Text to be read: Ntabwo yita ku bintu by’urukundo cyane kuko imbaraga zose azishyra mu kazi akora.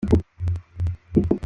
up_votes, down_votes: 0, 2